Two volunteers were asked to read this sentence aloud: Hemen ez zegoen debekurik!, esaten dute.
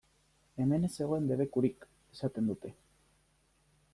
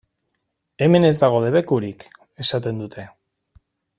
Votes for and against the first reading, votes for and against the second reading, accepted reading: 2, 0, 1, 2, first